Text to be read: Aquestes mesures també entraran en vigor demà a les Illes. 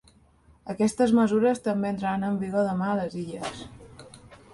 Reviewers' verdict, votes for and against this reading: accepted, 2, 0